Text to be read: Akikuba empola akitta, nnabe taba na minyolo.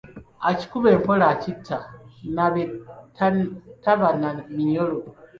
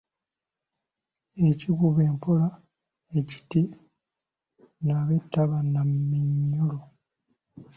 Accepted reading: first